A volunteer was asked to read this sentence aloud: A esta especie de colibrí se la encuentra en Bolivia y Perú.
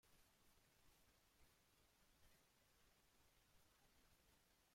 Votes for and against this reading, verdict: 0, 2, rejected